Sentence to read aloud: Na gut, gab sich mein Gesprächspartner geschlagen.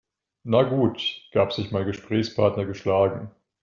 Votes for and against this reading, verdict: 2, 0, accepted